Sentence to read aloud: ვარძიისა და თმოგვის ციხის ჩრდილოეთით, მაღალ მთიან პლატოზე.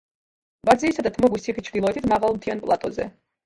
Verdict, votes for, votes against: accepted, 2, 0